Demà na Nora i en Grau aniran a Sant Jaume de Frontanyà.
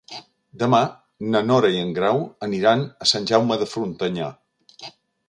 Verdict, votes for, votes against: accepted, 3, 0